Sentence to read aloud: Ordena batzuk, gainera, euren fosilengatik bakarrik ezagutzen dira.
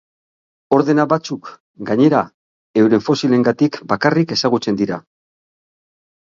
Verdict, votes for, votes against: accepted, 6, 0